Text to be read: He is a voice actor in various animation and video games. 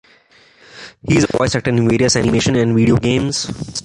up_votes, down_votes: 0, 2